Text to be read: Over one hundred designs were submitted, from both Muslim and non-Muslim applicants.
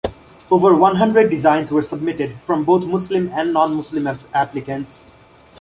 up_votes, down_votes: 2, 1